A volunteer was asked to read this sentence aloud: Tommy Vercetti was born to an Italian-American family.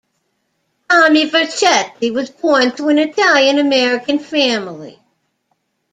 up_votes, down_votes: 0, 2